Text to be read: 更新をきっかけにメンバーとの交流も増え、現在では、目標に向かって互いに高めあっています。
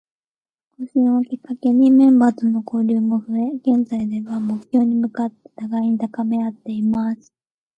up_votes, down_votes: 2, 3